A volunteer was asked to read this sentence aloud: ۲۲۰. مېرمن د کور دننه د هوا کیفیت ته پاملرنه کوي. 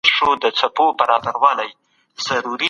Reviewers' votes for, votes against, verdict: 0, 2, rejected